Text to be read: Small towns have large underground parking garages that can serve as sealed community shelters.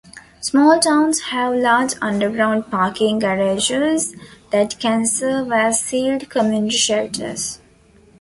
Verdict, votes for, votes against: accepted, 2, 1